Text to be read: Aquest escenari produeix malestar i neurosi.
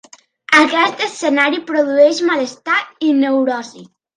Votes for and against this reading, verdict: 2, 0, accepted